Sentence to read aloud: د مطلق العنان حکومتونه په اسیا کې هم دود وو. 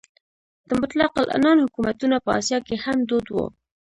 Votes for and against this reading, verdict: 2, 0, accepted